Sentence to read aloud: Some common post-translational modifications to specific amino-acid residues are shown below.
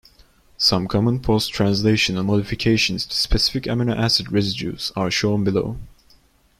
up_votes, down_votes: 2, 0